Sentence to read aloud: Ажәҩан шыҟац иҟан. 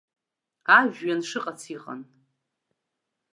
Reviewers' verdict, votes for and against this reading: rejected, 0, 2